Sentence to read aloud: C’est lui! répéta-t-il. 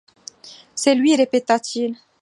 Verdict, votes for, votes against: accepted, 2, 0